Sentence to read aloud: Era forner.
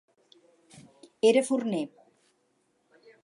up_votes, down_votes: 4, 0